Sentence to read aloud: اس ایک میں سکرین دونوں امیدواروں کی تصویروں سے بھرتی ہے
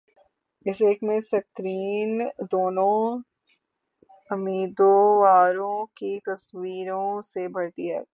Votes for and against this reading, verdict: 0, 3, rejected